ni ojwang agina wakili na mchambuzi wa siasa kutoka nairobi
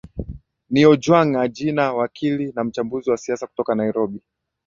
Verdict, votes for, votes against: accepted, 2, 0